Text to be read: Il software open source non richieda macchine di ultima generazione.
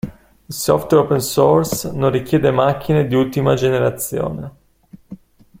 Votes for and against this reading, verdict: 2, 1, accepted